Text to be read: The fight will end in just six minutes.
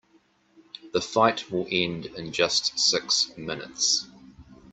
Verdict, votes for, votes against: accepted, 2, 0